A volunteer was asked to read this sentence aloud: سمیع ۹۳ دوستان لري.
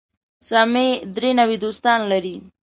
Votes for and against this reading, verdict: 0, 2, rejected